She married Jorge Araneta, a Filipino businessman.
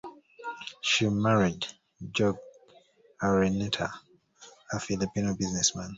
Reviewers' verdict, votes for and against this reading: accepted, 2, 0